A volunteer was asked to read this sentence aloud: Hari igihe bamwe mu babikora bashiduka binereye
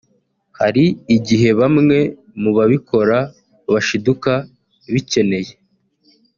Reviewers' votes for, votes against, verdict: 0, 2, rejected